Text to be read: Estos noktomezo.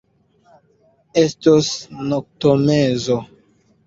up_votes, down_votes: 1, 2